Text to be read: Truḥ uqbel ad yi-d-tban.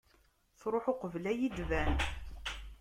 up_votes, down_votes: 1, 2